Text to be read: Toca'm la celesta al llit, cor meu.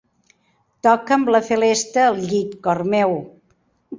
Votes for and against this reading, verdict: 2, 0, accepted